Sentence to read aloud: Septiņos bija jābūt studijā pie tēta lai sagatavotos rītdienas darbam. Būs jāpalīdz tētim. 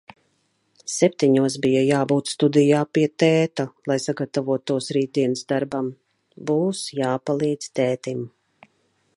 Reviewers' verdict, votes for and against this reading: accepted, 2, 0